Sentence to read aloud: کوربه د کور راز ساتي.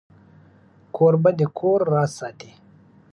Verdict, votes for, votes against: accepted, 2, 1